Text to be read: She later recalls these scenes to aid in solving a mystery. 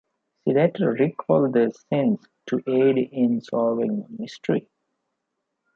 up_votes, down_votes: 1, 2